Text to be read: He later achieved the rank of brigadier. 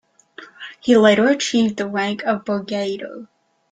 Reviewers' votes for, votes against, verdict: 0, 2, rejected